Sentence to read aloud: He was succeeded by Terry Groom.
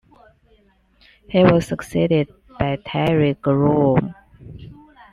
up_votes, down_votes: 2, 0